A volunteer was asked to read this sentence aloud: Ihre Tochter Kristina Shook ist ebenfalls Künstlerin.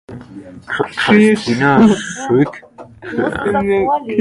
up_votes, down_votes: 0, 2